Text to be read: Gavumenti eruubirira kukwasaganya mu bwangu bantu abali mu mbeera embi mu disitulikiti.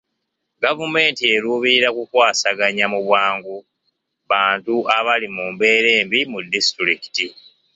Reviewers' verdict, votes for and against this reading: accepted, 2, 0